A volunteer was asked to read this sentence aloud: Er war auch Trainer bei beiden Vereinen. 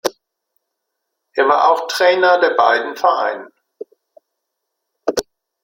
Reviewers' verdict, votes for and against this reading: accepted, 2, 0